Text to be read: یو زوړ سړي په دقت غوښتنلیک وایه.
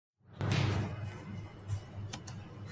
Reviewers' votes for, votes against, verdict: 1, 2, rejected